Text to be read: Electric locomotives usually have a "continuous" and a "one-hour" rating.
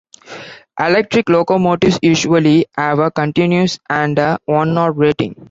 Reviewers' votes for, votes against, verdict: 2, 0, accepted